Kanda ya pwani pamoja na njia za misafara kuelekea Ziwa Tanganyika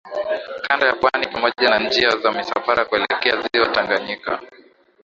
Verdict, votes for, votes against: accepted, 2, 0